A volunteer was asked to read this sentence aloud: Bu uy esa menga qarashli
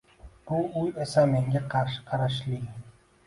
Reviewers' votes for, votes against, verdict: 1, 2, rejected